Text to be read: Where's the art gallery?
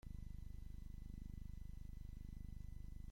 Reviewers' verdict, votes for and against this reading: rejected, 0, 2